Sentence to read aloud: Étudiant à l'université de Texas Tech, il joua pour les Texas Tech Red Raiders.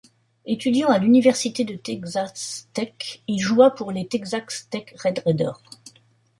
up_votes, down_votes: 0, 2